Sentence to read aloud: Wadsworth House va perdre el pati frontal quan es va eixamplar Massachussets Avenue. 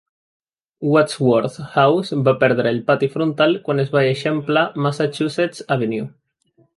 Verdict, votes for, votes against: accepted, 2, 0